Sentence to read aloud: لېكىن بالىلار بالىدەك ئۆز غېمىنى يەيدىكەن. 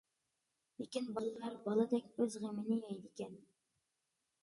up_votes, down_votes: 2, 0